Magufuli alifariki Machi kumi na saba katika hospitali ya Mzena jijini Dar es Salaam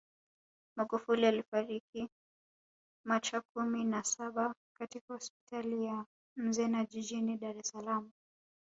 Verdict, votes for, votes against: rejected, 1, 2